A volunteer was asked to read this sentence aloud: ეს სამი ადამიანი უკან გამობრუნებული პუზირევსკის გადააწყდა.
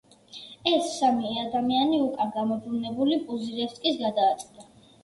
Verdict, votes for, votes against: rejected, 1, 2